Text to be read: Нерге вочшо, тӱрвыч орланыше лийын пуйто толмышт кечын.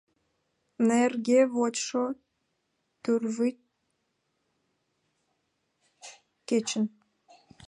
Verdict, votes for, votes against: rejected, 0, 2